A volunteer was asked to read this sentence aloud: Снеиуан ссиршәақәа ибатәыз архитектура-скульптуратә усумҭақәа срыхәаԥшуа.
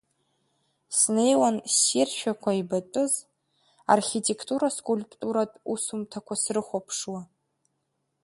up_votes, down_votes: 1, 2